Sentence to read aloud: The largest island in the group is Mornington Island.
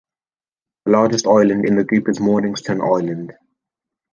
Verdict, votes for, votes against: rejected, 0, 2